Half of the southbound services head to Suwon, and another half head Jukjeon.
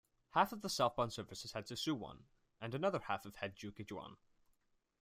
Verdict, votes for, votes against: accepted, 2, 1